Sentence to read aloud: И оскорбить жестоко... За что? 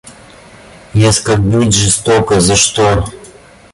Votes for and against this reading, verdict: 2, 0, accepted